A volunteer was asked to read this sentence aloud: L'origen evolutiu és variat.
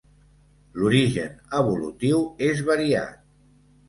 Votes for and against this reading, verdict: 2, 0, accepted